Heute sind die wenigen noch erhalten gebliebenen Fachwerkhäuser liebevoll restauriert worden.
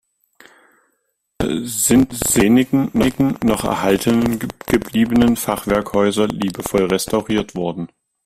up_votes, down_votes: 0, 2